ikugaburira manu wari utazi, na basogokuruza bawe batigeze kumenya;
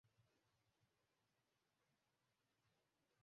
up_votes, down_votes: 0, 2